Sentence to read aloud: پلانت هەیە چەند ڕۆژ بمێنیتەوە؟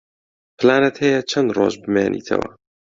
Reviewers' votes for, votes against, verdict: 2, 0, accepted